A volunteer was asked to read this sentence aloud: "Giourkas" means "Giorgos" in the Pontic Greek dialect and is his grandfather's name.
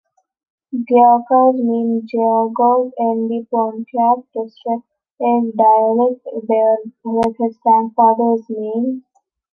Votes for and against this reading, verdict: 0, 2, rejected